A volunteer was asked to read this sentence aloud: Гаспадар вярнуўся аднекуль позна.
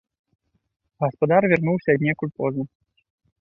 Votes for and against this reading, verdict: 2, 0, accepted